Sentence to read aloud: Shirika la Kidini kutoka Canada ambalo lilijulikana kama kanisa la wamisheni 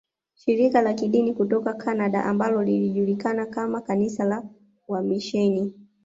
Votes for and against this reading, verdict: 2, 0, accepted